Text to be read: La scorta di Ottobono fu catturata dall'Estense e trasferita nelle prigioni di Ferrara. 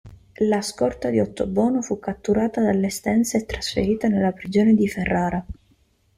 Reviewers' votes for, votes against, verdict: 0, 2, rejected